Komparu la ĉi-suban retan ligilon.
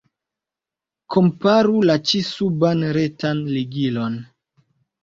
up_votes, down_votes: 2, 0